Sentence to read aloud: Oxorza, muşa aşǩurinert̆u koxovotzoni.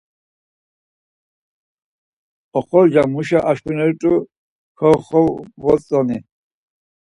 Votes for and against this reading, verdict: 0, 4, rejected